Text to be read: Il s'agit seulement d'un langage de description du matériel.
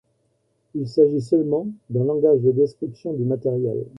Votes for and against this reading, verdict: 1, 2, rejected